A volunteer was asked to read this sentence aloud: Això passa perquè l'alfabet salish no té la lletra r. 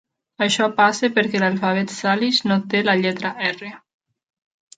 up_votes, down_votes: 0, 2